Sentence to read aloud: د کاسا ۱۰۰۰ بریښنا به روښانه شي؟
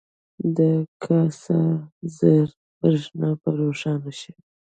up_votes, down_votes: 0, 2